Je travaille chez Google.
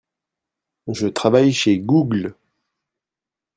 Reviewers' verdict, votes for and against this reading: rejected, 1, 2